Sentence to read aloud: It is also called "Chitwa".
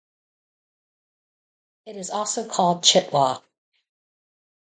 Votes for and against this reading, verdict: 0, 2, rejected